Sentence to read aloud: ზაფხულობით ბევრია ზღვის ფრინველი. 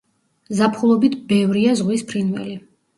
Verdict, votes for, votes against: rejected, 0, 2